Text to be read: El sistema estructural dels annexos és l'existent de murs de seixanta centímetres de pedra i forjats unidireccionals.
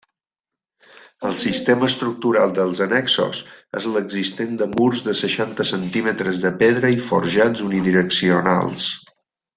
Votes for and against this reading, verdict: 3, 0, accepted